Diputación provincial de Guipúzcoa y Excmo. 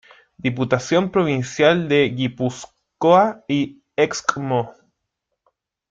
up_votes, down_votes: 1, 2